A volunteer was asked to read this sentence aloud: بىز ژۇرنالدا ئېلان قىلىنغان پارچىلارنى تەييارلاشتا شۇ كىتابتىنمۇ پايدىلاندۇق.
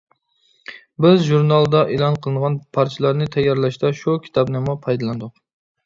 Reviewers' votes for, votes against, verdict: 1, 2, rejected